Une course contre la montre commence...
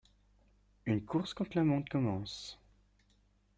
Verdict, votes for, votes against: rejected, 1, 2